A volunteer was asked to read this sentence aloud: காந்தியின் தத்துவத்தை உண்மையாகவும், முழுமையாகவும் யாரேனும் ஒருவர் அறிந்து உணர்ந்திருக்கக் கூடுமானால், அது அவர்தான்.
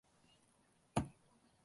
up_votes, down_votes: 0, 2